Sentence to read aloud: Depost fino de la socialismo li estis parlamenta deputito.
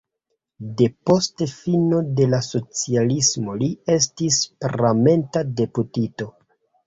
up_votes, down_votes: 1, 3